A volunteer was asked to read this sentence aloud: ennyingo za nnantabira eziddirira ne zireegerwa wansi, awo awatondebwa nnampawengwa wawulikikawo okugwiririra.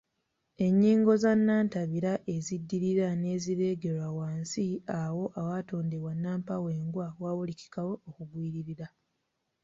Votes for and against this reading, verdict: 2, 0, accepted